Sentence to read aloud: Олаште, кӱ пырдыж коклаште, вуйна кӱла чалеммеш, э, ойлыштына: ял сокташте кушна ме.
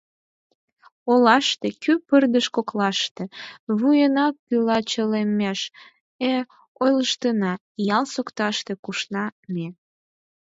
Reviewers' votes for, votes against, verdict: 4, 0, accepted